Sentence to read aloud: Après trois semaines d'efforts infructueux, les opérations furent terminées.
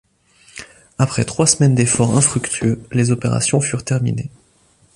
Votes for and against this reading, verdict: 2, 0, accepted